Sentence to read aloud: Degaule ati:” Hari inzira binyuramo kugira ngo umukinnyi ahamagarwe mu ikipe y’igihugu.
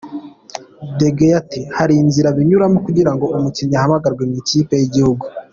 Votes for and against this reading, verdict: 2, 0, accepted